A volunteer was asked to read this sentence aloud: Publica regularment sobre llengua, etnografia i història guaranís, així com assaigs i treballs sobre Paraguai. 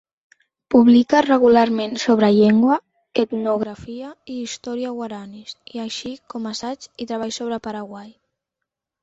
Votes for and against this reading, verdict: 3, 2, accepted